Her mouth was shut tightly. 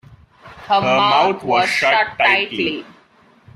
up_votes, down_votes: 1, 2